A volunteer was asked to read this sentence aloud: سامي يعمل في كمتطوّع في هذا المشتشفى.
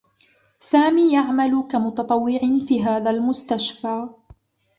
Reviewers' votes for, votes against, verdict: 1, 2, rejected